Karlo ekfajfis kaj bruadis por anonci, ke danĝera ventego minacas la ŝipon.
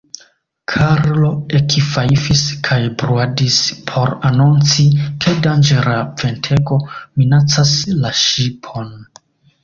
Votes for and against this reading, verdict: 2, 1, accepted